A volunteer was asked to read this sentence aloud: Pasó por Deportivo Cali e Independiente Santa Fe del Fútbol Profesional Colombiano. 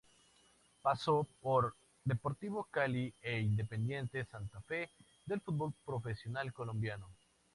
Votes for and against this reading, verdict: 2, 0, accepted